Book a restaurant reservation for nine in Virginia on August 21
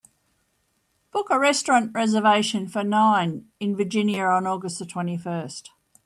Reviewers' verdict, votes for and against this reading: rejected, 0, 2